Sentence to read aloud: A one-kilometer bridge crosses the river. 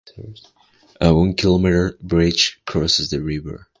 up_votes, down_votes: 2, 0